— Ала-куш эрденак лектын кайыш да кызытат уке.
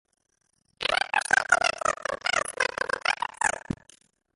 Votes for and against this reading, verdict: 0, 2, rejected